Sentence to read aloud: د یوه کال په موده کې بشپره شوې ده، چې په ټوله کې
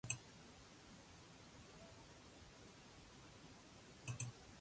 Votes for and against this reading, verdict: 0, 2, rejected